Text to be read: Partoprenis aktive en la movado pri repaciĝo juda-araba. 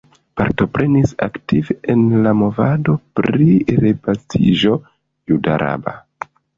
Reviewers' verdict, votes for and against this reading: rejected, 1, 2